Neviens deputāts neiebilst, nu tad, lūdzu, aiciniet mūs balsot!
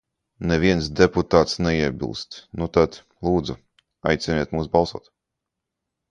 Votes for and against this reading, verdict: 2, 0, accepted